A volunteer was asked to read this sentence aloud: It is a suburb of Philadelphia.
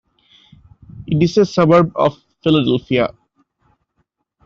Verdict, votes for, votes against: accepted, 2, 1